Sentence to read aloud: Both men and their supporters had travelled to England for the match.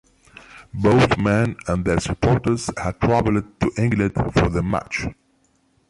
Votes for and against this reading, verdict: 3, 0, accepted